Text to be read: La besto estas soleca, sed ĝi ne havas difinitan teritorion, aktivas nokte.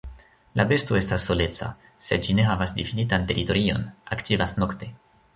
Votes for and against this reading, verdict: 1, 2, rejected